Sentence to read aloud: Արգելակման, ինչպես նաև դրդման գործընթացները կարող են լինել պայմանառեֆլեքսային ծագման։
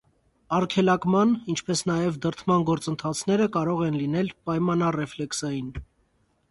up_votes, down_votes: 0, 2